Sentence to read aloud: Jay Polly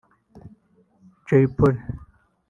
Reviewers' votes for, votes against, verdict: 1, 2, rejected